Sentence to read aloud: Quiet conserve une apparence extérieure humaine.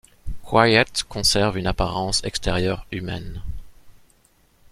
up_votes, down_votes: 2, 1